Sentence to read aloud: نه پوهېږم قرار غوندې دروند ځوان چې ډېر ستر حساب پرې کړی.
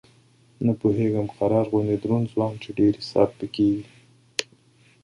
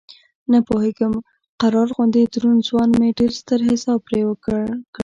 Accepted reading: first